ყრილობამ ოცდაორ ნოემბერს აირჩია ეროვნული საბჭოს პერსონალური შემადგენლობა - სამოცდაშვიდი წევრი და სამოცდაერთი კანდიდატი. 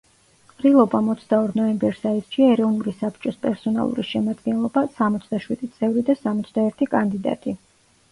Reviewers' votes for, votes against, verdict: 1, 2, rejected